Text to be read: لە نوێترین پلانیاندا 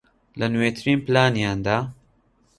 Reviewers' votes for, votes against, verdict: 2, 0, accepted